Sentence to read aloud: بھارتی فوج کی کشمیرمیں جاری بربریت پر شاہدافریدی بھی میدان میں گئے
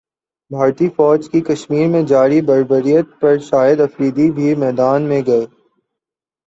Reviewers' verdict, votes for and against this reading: accepted, 18, 2